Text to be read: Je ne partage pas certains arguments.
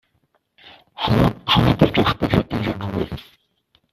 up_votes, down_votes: 0, 2